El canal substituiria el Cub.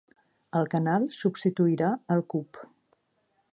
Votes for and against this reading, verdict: 1, 2, rejected